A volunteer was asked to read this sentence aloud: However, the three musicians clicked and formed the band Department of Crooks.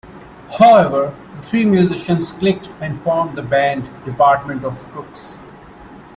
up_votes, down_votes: 1, 2